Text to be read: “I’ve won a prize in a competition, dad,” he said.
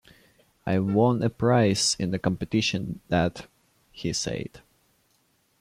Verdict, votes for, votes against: rejected, 1, 2